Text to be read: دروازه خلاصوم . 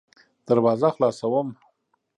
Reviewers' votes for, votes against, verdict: 2, 0, accepted